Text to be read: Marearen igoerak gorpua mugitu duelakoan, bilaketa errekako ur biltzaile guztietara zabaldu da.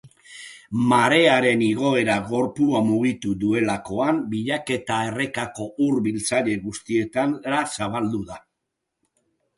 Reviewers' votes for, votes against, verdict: 0, 2, rejected